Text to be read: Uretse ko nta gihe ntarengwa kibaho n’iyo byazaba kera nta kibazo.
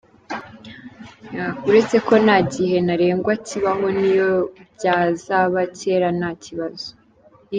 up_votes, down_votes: 2, 0